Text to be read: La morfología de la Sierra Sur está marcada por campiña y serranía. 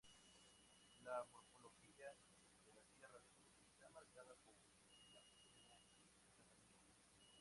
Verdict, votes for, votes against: rejected, 0, 2